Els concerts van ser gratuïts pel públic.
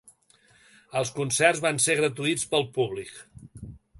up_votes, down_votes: 2, 0